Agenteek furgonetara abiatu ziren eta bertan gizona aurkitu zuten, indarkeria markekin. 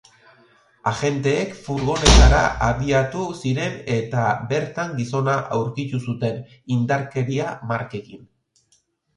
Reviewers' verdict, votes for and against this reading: accepted, 3, 1